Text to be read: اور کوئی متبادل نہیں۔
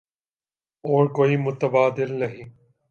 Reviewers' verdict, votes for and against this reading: accepted, 3, 0